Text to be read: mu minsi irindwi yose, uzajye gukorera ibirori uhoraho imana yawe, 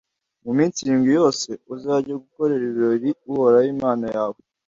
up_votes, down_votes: 2, 0